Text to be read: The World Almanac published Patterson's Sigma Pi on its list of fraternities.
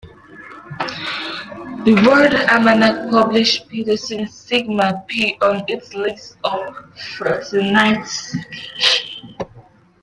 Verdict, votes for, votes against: rejected, 0, 2